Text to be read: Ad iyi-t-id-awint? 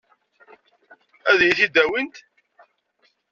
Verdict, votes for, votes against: accepted, 2, 0